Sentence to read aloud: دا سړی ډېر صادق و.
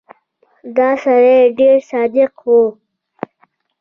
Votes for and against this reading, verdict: 0, 2, rejected